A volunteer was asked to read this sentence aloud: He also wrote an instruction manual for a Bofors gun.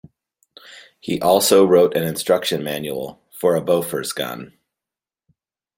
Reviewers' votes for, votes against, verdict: 2, 0, accepted